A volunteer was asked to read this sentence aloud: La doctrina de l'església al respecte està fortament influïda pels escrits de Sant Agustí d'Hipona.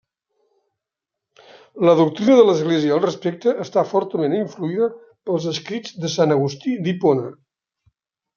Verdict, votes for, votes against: accepted, 2, 0